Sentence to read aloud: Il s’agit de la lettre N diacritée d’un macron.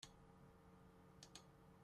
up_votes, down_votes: 0, 2